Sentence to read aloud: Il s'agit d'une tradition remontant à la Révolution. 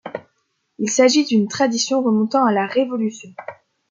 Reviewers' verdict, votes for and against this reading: accepted, 2, 0